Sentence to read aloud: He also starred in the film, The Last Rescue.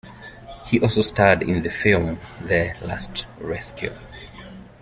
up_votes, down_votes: 0, 2